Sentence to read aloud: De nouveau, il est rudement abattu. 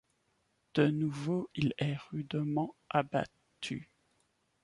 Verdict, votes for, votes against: accepted, 2, 1